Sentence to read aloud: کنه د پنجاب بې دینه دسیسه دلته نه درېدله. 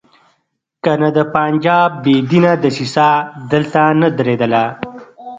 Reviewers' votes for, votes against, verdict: 2, 0, accepted